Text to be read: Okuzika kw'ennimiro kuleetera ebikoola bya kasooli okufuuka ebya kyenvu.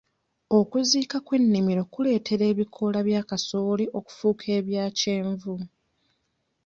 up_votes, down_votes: 0, 2